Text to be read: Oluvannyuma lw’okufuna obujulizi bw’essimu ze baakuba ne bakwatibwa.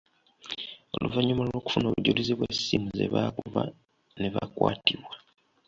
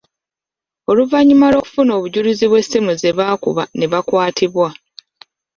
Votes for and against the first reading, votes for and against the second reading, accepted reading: 2, 0, 1, 2, first